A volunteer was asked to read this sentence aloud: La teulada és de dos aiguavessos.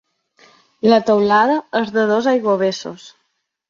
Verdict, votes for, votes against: accepted, 2, 0